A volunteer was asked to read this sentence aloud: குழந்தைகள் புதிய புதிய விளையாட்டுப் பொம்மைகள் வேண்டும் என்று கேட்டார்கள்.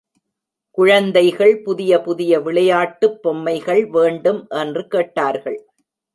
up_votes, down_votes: 2, 0